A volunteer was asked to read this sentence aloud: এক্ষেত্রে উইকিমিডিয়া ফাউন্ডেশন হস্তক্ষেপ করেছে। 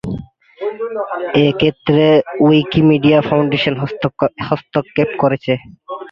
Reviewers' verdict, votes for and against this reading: rejected, 0, 3